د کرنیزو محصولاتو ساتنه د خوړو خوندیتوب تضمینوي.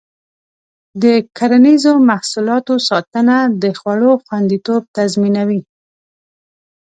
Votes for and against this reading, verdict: 2, 0, accepted